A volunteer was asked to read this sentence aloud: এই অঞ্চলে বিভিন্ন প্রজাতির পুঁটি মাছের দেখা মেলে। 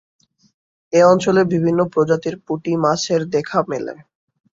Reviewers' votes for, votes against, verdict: 2, 0, accepted